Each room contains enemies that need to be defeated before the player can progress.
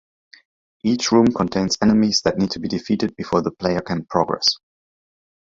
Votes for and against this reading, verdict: 2, 0, accepted